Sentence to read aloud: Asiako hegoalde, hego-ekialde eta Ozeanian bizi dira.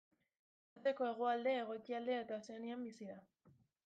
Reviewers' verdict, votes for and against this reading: rejected, 0, 2